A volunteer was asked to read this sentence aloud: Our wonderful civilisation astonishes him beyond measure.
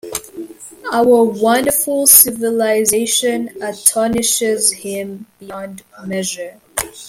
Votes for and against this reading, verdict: 0, 2, rejected